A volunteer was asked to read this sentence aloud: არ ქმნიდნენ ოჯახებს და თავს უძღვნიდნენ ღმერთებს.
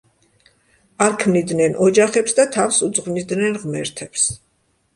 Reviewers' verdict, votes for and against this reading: accepted, 2, 0